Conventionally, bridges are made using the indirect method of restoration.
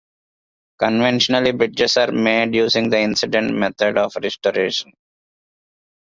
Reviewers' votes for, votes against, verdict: 0, 2, rejected